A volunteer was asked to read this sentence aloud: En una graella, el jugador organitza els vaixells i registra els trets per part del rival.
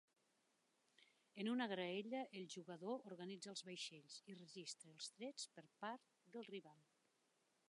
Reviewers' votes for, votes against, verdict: 0, 2, rejected